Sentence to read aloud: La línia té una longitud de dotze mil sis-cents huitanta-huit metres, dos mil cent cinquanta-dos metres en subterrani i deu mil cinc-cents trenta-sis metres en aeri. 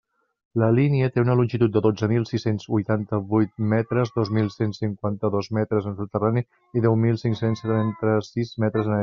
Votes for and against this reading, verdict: 1, 2, rejected